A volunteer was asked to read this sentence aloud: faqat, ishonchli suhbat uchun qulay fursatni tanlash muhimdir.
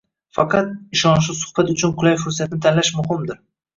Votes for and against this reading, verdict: 0, 2, rejected